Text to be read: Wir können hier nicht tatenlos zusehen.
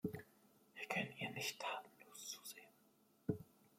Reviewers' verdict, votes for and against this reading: rejected, 1, 2